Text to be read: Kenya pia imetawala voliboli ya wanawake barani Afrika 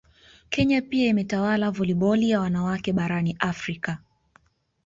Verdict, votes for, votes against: accepted, 2, 0